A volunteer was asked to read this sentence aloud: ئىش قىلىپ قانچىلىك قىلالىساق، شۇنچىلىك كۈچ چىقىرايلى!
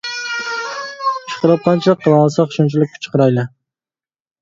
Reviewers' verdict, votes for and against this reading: rejected, 0, 2